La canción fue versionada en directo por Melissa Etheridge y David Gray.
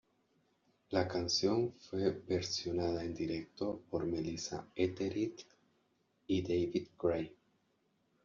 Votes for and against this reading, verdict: 1, 2, rejected